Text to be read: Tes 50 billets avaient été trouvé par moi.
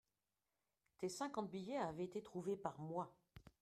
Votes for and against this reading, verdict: 0, 2, rejected